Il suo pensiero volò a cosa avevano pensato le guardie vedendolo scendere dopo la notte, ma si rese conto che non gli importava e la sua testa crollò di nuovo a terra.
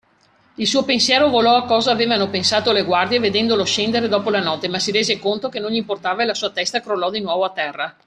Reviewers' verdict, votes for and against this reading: accepted, 2, 0